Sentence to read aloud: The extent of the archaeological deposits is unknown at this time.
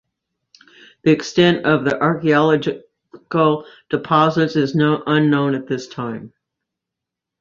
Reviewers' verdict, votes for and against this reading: rejected, 0, 2